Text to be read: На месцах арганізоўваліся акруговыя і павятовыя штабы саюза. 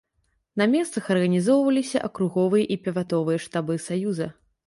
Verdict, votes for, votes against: rejected, 1, 2